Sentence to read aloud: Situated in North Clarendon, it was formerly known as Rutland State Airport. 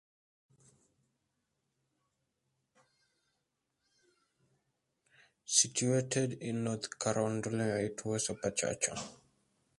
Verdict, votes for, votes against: rejected, 0, 2